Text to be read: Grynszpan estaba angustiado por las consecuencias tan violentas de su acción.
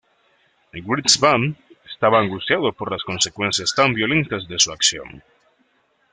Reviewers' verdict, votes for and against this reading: rejected, 1, 2